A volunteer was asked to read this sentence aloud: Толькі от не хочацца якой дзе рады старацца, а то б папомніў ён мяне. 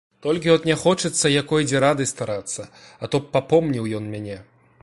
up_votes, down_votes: 2, 0